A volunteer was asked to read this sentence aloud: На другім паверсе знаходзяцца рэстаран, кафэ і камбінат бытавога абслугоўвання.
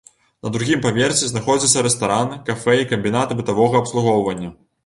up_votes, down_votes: 2, 0